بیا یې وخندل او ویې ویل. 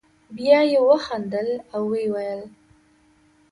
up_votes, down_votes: 2, 0